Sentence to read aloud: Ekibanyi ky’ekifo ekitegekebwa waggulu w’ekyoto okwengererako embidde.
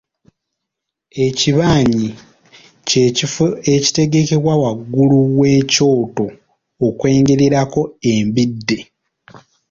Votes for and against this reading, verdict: 2, 1, accepted